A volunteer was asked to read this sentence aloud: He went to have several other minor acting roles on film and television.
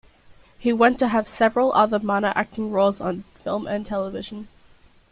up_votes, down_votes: 2, 0